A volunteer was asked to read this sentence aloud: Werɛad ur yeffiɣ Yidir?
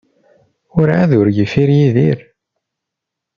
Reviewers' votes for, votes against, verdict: 0, 2, rejected